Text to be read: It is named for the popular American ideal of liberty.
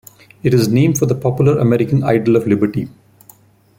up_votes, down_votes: 2, 0